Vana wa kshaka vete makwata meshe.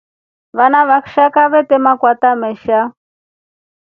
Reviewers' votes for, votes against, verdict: 2, 1, accepted